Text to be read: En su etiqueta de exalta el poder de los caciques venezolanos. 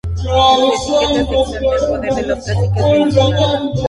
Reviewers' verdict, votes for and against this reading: rejected, 0, 2